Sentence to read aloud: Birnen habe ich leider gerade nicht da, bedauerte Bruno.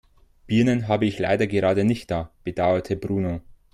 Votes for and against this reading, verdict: 2, 0, accepted